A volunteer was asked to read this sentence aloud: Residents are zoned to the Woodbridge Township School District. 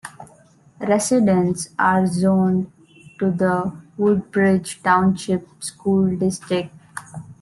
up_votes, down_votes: 2, 0